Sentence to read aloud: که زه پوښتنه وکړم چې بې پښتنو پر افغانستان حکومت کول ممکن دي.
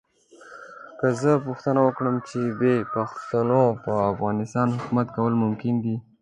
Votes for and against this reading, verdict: 1, 2, rejected